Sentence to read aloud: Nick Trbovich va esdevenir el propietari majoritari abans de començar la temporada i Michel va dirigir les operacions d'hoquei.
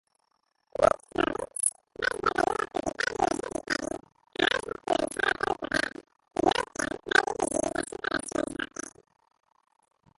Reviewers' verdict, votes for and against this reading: rejected, 1, 2